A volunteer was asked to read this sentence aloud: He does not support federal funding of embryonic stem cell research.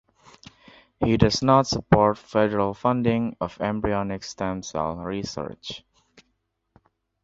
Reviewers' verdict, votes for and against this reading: accepted, 2, 0